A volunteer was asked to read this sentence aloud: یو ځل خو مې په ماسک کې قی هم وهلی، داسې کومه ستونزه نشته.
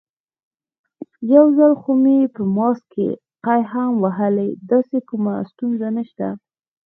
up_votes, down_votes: 1, 2